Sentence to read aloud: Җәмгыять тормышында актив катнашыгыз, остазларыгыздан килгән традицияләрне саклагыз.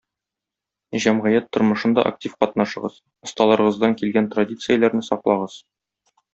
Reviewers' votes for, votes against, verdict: 1, 2, rejected